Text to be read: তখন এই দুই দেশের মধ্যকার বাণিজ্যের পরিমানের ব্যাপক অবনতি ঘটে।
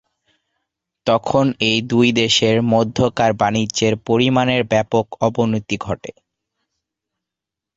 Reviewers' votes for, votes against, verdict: 2, 0, accepted